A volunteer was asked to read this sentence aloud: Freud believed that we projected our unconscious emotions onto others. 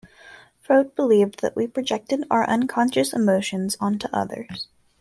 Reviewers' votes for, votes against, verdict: 2, 0, accepted